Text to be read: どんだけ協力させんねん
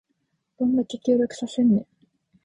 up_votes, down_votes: 4, 0